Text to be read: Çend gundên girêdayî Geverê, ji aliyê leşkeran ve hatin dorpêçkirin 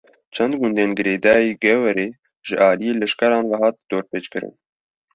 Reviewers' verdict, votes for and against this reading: accepted, 2, 0